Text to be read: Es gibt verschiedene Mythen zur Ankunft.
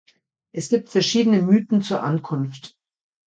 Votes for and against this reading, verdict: 2, 0, accepted